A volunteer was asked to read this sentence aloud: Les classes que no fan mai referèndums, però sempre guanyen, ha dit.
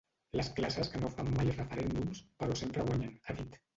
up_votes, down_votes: 0, 2